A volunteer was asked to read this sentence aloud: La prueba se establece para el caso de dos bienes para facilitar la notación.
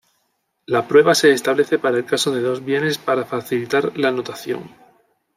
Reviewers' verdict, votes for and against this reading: accepted, 2, 0